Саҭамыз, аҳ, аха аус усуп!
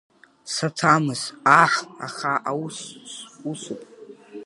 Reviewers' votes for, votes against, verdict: 2, 0, accepted